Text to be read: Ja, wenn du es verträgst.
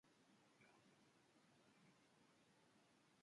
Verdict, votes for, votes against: rejected, 0, 2